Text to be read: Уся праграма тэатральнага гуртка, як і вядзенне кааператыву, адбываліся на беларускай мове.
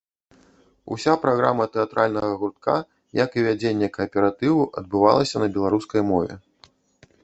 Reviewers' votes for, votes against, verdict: 1, 2, rejected